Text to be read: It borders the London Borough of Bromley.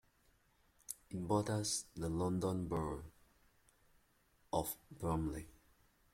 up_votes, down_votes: 0, 2